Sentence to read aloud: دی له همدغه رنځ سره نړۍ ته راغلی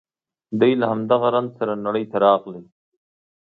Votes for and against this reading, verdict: 2, 0, accepted